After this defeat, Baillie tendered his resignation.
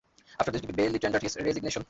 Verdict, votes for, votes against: rejected, 0, 2